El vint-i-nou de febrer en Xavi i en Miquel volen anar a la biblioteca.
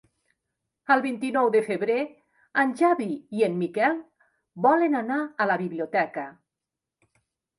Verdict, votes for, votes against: accepted, 5, 1